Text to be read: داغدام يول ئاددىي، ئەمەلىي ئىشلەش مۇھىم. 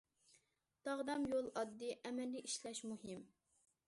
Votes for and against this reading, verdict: 2, 0, accepted